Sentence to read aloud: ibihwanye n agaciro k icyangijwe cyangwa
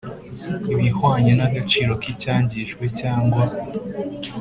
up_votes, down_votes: 3, 0